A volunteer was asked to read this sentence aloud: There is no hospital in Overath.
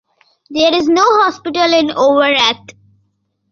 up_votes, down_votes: 2, 0